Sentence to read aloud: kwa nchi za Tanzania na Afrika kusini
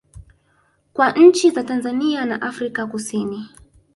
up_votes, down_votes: 2, 0